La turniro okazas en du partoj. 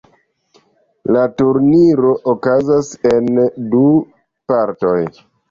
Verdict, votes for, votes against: accepted, 2, 0